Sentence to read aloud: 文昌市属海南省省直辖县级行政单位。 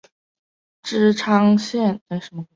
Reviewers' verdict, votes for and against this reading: rejected, 0, 3